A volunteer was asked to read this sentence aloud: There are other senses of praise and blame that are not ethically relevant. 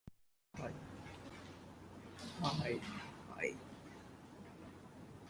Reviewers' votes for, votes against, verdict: 0, 2, rejected